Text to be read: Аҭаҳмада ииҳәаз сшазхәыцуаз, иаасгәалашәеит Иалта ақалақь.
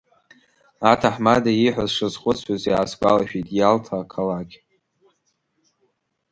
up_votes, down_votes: 2, 1